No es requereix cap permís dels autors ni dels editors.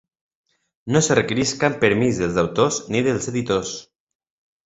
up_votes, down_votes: 2, 1